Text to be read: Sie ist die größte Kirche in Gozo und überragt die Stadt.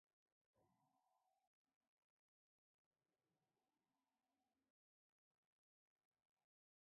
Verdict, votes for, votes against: rejected, 0, 2